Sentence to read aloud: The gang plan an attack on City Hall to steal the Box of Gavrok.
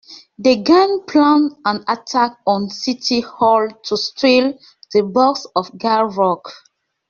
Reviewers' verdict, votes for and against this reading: accepted, 2, 1